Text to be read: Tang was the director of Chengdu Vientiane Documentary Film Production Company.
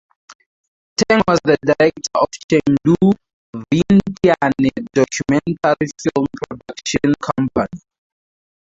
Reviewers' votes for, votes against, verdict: 0, 2, rejected